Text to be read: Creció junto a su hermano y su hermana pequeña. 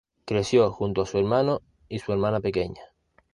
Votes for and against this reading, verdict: 2, 0, accepted